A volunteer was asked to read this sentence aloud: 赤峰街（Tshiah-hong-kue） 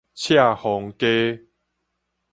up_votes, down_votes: 4, 0